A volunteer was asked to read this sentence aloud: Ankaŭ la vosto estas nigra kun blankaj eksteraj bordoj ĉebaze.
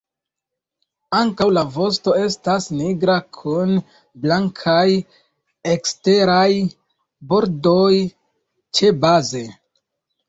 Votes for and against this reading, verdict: 2, 1, accepted